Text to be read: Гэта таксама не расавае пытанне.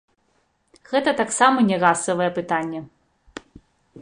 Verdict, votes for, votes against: accepted, 2, 1